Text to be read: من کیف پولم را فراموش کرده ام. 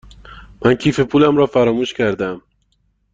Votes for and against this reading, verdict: 2, 0, accepted